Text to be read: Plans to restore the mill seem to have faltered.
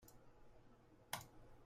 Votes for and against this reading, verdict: 0, 2, rejected